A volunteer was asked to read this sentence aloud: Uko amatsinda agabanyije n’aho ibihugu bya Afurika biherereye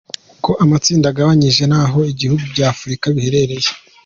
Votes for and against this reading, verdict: 2, 0, accepted